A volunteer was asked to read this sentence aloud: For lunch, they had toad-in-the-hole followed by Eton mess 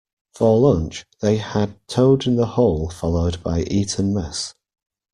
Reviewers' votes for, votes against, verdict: 1, 2, rejected